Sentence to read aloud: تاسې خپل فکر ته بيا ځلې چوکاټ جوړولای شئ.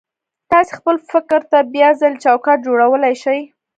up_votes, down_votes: 1, 2